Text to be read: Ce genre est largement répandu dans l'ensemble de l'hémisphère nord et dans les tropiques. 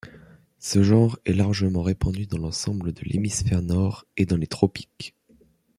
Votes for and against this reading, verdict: 1, 2, rejected